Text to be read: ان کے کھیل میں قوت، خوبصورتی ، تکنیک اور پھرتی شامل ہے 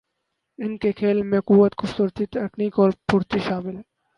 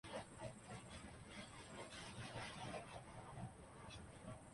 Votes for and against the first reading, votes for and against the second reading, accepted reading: 2, 0, 1, 3, first